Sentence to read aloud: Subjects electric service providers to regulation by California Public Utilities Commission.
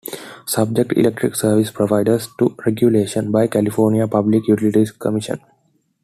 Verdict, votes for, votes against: accepted, 2, 0